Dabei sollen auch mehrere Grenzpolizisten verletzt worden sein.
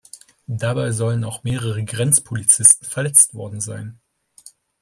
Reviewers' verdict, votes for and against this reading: accepted, 2, 0